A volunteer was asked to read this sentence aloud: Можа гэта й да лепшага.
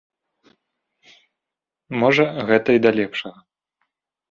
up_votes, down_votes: 2, 0